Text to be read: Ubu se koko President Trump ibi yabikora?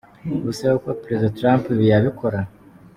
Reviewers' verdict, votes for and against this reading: accepted, 2, 1